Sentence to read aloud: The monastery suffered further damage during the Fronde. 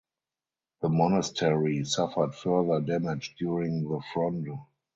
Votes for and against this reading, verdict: 2, 2, rejected